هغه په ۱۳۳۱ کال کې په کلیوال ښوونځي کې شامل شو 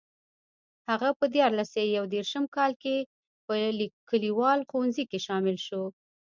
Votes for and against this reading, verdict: 0, 2, rejected